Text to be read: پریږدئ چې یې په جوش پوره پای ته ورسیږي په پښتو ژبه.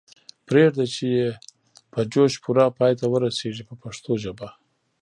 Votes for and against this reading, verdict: 1, 2, rejected